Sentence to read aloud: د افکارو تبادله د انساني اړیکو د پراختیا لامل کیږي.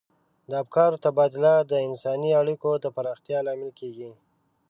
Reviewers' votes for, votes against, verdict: 3, 0, accepted